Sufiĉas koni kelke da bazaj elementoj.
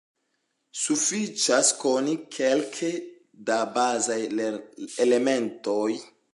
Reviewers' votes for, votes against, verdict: 1, 2, rejected